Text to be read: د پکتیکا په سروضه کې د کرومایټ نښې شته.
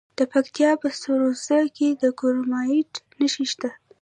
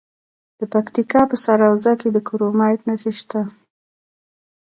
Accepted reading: second